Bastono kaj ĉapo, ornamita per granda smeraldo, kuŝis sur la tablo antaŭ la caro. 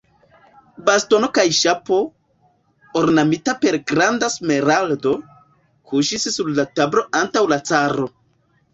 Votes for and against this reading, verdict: 1, 2, rejected